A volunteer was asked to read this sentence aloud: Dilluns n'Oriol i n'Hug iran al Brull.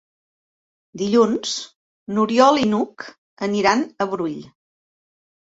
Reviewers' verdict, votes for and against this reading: rejected, 0, 2